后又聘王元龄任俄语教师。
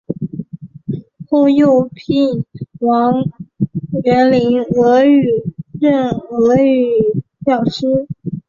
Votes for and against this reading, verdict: 0, 2, rejected